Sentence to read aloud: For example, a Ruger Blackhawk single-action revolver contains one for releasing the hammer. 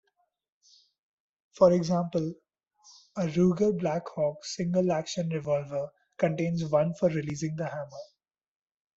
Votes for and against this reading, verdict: 2, 0, accepted